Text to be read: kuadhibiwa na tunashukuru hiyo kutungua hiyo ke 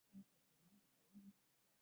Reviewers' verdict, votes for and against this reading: rejected, 0, 2